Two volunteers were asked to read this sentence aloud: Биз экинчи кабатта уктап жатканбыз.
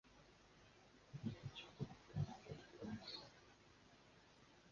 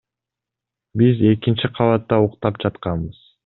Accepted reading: second